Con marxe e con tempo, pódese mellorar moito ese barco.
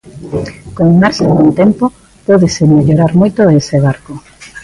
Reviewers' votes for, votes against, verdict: 1, 2, rejected